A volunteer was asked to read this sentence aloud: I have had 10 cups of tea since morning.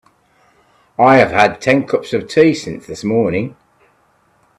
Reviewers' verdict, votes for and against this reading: rejected, 0, 2